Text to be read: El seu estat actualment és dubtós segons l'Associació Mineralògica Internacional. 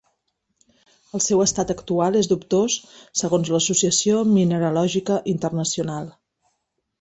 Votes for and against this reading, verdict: 1, 2, rejected